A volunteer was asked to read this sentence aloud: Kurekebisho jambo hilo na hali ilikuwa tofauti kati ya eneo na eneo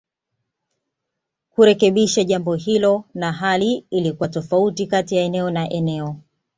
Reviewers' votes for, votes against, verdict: 2, 0, accepted